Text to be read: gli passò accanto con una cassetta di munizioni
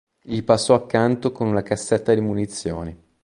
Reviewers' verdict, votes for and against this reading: accepted, 2, 0